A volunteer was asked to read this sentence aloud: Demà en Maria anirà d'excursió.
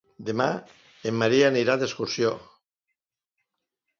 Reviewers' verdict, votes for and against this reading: accepted, 2, 0